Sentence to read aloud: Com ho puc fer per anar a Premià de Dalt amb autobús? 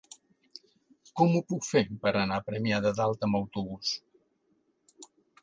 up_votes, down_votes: 2, 0